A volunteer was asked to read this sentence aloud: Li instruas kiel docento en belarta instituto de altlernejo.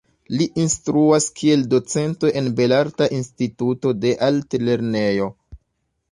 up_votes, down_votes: 0, 2